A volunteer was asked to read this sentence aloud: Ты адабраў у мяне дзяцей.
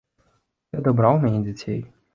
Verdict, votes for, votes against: rejected, 2, 3